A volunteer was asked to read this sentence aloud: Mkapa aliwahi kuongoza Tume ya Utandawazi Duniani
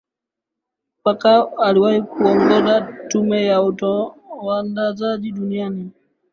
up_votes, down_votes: 4, 5